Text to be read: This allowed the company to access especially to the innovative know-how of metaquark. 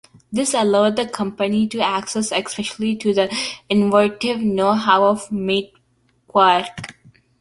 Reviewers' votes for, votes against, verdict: 0, 2, rejected